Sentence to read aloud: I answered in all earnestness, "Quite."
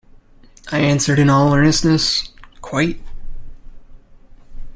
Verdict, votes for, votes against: accepted, 2, 0